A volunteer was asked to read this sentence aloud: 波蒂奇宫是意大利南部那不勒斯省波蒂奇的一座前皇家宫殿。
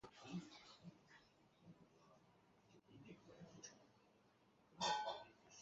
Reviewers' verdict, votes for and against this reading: rejected, 3, 5